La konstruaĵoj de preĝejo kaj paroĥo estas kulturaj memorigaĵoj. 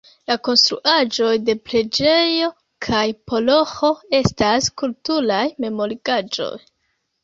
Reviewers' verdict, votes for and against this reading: accepted, 2, 1